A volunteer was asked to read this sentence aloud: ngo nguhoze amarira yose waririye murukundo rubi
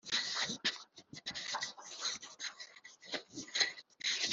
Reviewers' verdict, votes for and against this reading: rejected, 0, 2